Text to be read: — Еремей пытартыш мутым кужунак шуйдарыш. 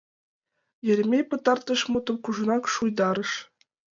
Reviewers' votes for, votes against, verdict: 2, 0, accepted